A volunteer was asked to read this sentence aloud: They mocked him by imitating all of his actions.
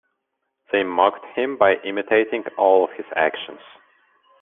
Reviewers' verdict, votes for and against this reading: accepted, 2, 1